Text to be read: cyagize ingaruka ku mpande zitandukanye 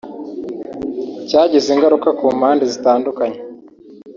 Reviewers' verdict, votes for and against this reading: rejected, 1, 2